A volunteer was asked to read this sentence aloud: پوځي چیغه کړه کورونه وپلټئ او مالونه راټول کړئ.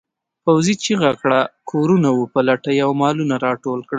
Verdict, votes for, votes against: accepted, 2, 0